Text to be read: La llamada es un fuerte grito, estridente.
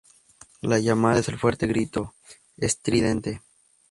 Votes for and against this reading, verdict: 2, 2, rejected